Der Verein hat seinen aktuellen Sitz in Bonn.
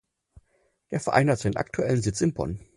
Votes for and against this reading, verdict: 6, 0, accepted